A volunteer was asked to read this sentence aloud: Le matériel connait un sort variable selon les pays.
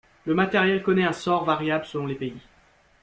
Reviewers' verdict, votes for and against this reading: accepted, 2, 0